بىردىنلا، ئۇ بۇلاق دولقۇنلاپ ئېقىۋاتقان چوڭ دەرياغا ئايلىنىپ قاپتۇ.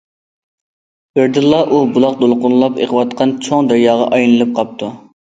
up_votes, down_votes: 2, 0